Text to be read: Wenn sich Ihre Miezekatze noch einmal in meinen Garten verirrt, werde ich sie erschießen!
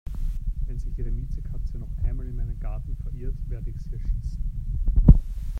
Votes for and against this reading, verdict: 0, 2, rejected